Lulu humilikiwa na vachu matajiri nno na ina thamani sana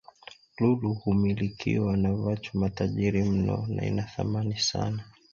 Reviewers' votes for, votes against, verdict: 2, 1, accepted